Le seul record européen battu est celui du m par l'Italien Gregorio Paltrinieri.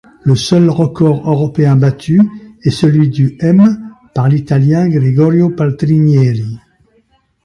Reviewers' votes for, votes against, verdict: 1, 2, rejected